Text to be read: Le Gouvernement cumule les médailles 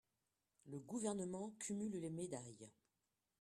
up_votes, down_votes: 0, 2